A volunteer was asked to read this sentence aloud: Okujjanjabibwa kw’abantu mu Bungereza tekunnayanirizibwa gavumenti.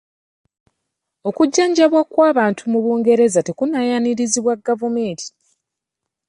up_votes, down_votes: 1, 2